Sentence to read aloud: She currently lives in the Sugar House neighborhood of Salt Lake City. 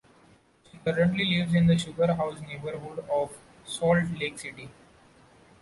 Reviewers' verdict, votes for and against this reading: accepted, 2, 0